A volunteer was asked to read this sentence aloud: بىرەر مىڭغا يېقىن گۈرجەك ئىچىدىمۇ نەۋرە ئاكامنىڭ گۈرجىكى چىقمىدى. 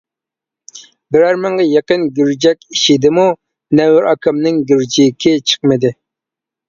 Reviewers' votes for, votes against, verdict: 2, 0, accepted